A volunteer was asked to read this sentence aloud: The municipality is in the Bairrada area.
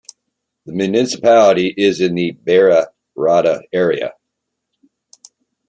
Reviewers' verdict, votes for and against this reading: rejected, 0, 2